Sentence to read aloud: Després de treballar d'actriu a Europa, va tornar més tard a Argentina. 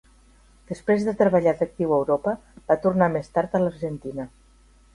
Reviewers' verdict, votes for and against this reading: rejected, 0, 2